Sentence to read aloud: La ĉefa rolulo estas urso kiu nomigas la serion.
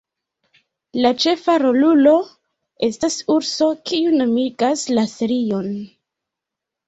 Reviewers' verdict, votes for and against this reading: accepted, 2, 1